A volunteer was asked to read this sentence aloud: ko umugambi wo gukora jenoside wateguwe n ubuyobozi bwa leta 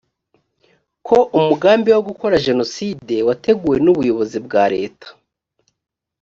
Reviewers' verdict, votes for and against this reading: accepted, 2, 0